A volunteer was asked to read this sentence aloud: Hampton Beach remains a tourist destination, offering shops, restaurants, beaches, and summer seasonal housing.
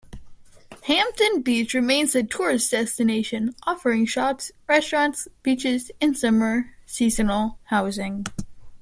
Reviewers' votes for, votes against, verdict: 2, 0, accepted